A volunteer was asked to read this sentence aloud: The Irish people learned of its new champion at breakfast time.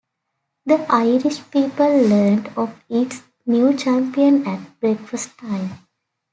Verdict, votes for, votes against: accepted, 2, 0